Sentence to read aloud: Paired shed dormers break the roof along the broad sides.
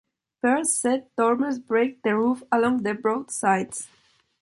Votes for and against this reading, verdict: 2, 0, accepted